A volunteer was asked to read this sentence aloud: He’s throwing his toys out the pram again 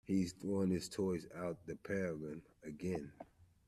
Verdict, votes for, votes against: rejected, 1, 3